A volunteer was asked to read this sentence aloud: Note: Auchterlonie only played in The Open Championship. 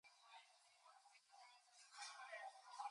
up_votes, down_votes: 0, 2